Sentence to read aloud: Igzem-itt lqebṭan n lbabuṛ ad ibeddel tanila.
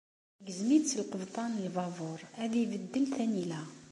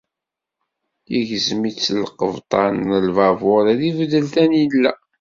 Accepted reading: first